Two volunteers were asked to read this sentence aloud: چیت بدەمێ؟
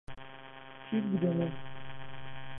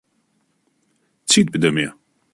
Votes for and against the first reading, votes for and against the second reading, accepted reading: 0, 2, 2, 0, second